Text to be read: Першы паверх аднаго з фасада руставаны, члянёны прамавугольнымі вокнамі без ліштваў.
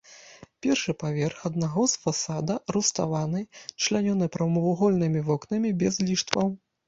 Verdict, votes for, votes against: accepted, 2, 0